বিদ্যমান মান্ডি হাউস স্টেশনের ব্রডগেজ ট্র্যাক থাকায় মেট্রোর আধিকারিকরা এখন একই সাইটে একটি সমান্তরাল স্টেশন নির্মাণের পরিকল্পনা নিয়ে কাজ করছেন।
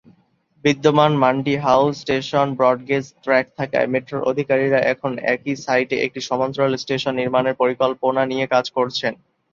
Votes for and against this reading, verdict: 0, 2, rejected